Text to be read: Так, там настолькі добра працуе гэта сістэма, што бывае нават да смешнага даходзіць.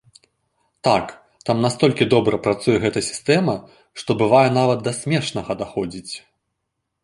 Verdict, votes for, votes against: rejected, 1, 2